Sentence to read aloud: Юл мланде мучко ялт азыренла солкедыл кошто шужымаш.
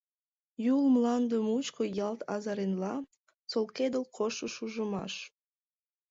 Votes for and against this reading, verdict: 2, 0, accepted